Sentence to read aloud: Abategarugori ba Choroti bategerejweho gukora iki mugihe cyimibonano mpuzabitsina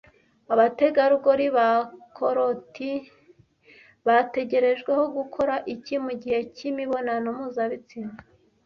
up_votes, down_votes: 1, 2